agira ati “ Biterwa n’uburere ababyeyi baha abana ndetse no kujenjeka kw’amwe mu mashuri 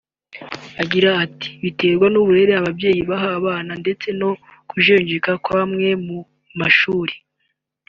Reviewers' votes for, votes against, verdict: 2, 0, accepted